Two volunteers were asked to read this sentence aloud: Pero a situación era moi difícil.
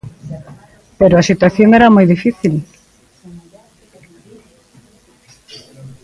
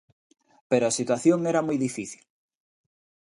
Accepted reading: second